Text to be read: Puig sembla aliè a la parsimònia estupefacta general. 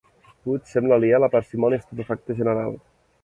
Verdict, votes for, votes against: accepted, 4, 1